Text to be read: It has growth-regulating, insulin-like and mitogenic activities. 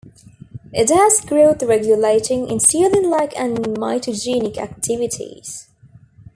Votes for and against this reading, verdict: 2, 0, accepted